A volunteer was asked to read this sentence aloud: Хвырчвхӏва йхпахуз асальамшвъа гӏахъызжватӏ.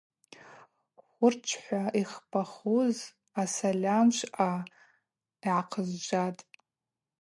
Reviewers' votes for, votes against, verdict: 2, 0, accepted